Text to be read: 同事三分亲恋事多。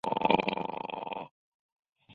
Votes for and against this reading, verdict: 0, 3, rejected